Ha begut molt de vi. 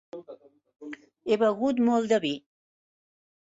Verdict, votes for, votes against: rejected, 1, 3